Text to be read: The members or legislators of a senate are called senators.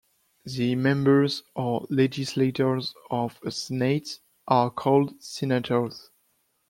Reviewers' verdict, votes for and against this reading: rejected, 1, 2